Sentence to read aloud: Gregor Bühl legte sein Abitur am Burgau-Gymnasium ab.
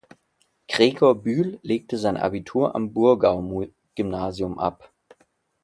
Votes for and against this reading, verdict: 0, 2, rejected